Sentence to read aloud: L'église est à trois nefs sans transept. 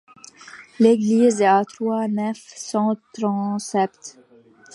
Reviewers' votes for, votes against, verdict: 0, 2, rejected